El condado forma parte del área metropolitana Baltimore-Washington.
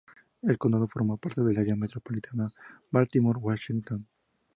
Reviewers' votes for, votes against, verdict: 2, 0, accepted